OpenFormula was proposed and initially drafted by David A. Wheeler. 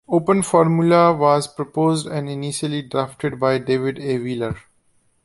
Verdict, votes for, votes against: accepted, 2, 0